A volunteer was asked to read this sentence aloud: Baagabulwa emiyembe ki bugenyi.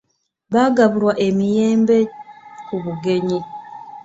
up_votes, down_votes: 0, 2